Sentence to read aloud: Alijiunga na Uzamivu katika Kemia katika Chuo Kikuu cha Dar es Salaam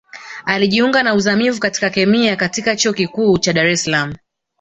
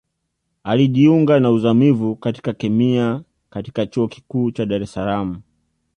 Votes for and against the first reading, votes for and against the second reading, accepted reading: 1, 2, 2, 0, second